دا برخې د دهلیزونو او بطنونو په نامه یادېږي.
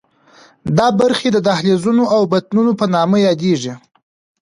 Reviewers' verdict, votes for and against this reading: accepted, 2, 1